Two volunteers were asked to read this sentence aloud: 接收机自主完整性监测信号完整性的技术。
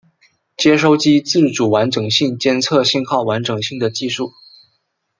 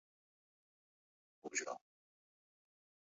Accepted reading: first